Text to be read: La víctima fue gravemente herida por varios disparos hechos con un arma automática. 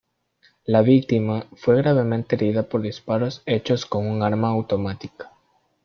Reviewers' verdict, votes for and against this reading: rejected, 0, 2